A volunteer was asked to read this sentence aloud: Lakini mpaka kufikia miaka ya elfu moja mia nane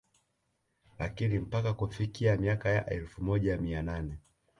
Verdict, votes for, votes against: accepted, 2, 0